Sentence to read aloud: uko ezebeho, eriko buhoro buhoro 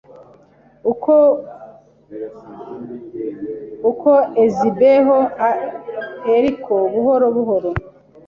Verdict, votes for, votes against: rejected, 0, 2